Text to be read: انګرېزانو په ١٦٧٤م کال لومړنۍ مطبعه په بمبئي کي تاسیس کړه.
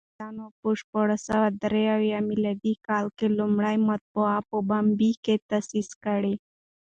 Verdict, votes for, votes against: rejected, 0, 2